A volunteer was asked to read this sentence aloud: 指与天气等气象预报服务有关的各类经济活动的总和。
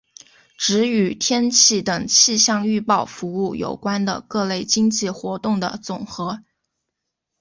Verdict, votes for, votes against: accepted, 2, 0